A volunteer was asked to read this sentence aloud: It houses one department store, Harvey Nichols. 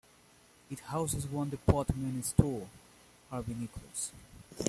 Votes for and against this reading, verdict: 2, 1, accepted